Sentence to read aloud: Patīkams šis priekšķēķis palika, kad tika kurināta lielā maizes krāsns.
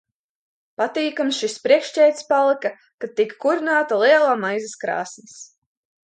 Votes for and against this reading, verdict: 2, 0, accepted